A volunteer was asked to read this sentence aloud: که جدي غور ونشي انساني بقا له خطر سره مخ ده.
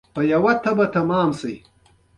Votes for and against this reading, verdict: 1, 2, rejected